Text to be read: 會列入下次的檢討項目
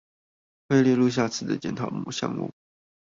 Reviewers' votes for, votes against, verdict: 0, 2, rejected